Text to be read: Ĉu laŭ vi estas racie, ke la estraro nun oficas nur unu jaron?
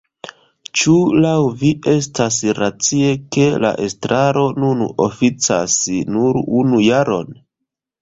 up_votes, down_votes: 1, 2